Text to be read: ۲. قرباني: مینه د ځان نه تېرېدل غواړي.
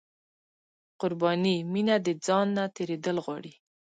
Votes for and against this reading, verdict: 0, 2, rejected